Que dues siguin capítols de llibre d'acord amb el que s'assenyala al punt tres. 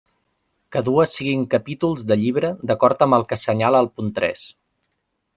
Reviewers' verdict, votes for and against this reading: rejected, 1, 2